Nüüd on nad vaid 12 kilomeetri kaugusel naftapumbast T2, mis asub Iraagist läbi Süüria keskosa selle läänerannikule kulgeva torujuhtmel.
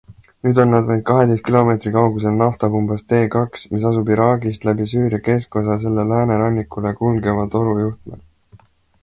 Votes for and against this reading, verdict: 0, 2, rejected